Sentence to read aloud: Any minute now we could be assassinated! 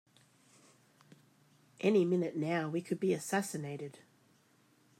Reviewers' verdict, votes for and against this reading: accepted, 2, 0